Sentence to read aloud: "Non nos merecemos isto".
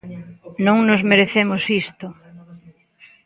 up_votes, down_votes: 1, 2